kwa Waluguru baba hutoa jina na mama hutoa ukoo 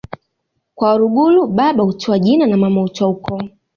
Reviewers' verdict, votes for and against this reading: accepted, 2, 0